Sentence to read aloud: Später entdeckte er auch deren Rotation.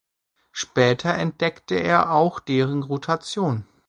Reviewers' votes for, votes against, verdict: 3, 0, accepted